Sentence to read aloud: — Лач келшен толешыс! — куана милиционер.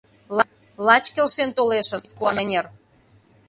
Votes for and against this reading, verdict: 0, 2, rejected